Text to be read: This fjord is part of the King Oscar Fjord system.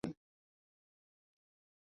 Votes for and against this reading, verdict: 0, 2, rejected